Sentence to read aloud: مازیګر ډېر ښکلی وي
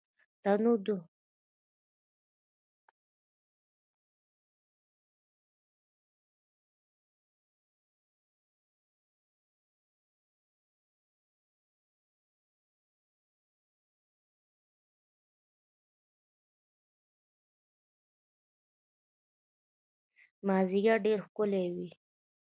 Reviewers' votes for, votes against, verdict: 1, 2, rejected